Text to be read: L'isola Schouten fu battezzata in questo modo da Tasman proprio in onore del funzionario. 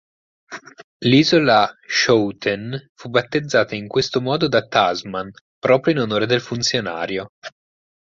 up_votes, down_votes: 4, 0